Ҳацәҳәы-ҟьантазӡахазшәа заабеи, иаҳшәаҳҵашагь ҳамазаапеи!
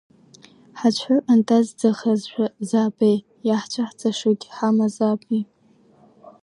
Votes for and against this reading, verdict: 1, 2, rejected